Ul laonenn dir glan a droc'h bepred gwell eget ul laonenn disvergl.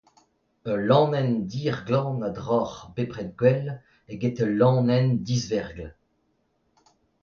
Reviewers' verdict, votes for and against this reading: accepted, 2, 0